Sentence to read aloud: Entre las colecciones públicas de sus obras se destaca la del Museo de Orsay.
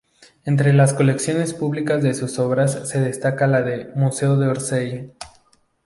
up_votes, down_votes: 2, 2